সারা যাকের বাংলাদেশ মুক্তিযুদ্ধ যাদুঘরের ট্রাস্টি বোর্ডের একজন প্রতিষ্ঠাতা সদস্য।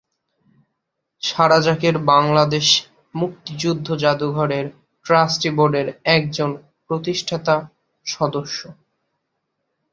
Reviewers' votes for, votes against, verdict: 5, 1, accepted